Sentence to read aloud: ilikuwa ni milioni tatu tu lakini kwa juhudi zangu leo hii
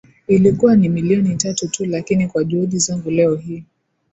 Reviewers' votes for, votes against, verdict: 2, 0, accepted